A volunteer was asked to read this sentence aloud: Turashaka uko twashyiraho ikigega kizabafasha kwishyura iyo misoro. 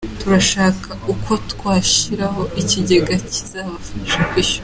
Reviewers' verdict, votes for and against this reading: rejected, 0, 2